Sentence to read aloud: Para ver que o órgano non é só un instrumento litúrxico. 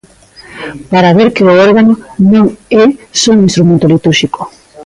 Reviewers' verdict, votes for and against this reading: accepted, 2, 0